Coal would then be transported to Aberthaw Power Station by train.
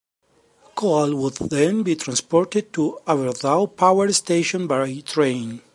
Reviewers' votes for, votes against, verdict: 0, 2, rejected